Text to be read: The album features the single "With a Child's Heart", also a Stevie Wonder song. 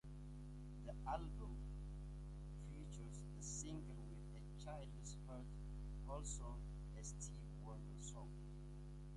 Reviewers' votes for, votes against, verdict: 0, 2, rejected